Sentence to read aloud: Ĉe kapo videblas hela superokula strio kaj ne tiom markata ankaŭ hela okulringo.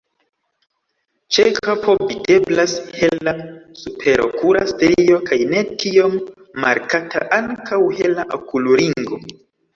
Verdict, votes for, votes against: rejected, 1, 2